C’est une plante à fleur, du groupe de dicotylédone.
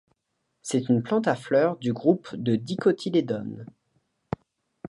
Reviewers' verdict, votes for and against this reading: accepted, 2, 0